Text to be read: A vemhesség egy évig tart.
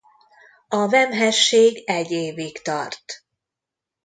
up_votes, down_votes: 2, 0